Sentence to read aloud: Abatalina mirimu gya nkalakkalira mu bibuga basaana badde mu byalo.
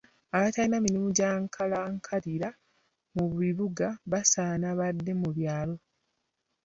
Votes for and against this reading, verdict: 2, 1, accepted